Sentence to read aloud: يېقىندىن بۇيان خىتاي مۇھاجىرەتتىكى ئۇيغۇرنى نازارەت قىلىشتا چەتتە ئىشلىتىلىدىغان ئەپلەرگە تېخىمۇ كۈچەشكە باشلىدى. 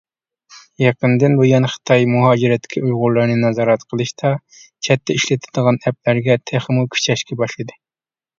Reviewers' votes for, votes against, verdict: 0, 2, rejected